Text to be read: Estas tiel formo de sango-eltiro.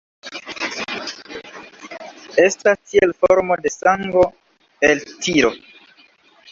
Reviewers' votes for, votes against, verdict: 0, 3, rejected